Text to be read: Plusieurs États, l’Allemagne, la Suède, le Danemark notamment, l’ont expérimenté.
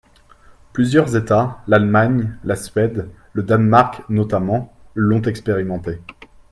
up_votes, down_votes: 2, 1